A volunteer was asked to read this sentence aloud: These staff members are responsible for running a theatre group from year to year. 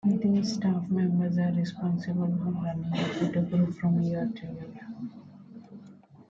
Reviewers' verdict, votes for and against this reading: rejected, 1, 2